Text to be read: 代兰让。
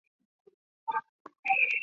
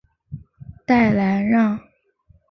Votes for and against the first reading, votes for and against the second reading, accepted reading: 0, 4, 4, 0, second